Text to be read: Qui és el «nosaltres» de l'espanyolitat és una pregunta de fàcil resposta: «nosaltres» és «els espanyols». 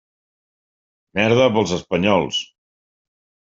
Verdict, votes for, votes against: rejected, 0, 2